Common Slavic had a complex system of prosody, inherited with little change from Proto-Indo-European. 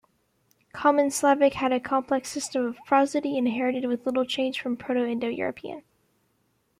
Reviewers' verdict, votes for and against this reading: accepted, 2, 0